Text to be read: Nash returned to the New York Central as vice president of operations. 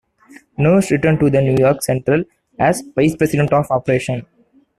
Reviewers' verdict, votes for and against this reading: rejected, 1, 2